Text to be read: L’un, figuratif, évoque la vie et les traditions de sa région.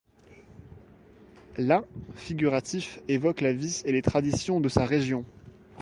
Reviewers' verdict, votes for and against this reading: rejected, 1, 2